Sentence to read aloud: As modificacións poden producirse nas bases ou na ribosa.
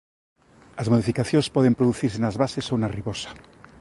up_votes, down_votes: 2, 0